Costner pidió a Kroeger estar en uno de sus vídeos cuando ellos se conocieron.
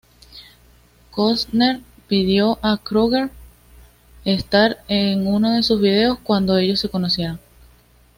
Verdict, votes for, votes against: accepted, 2, 0